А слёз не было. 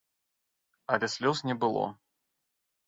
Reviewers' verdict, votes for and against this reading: rejected, 0, 2